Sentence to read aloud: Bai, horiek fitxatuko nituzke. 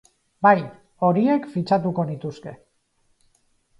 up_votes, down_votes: 2, 0